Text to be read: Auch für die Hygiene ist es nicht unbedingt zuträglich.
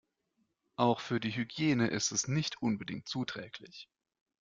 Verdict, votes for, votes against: accepted, 2, 0